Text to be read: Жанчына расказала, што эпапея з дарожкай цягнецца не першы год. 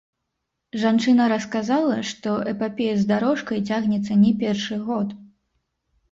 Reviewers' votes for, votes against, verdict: 1, 2, rejected